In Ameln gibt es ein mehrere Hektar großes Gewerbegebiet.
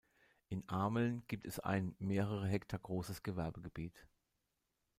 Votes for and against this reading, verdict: 2, 0, accepted